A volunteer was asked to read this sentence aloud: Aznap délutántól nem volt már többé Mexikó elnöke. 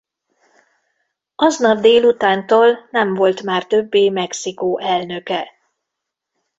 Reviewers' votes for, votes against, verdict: 2, 0, accepted